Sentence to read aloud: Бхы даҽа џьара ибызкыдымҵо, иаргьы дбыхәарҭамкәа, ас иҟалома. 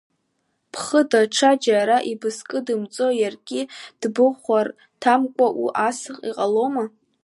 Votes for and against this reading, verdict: 2, 0, accepted